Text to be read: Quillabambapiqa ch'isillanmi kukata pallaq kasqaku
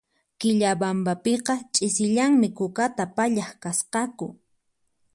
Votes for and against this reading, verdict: 4, 0, accepted